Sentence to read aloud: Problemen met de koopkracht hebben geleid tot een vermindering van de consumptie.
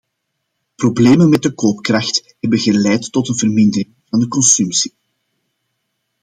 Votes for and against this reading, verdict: 1, 2, rejected